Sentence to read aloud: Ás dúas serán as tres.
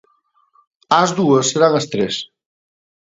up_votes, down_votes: 2, 0